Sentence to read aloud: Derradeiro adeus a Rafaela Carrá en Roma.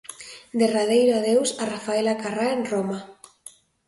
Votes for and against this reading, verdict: 2, 0, accepted